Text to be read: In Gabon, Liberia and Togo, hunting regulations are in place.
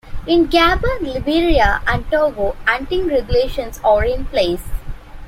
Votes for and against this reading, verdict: 2, 0, accepted